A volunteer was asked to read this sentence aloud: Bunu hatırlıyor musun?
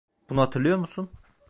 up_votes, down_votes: 2, 0